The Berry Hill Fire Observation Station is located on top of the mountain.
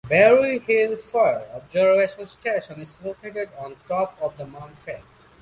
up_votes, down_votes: 0, 2